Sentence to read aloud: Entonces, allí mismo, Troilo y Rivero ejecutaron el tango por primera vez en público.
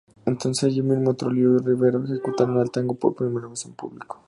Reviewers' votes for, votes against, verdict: 0, 2, rejected